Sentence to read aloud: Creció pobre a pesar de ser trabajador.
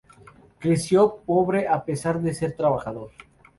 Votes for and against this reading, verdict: 2, 0, accepted